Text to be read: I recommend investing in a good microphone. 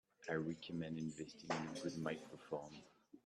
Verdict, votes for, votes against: accepted, 3, 0